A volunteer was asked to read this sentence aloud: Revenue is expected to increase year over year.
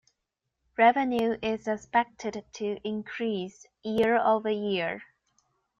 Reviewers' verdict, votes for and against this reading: accepted, 3, 0